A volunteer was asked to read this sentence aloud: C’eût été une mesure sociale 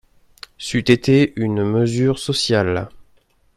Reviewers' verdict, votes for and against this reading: accepted, 2, 0